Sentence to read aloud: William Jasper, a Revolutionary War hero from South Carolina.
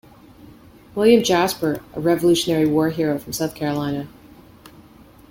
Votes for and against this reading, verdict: 2, 1, accepted